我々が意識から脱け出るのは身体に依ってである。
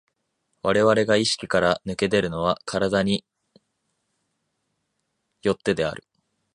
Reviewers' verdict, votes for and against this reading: accepted, 2, 1